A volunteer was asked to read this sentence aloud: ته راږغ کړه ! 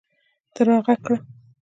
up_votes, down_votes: 2, 0